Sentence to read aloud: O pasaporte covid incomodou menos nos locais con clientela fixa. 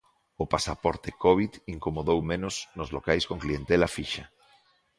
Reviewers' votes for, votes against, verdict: 2, 0, accepted